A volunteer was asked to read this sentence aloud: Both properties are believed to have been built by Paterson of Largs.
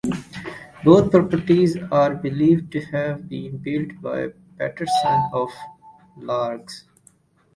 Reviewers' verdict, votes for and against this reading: accepted, 2, 0